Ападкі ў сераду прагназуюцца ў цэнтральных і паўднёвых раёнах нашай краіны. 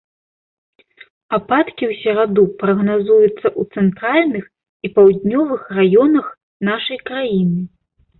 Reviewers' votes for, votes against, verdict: 2, 0, accepted